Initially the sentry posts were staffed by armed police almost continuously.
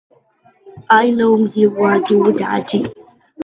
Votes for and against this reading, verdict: 0, 2, rejected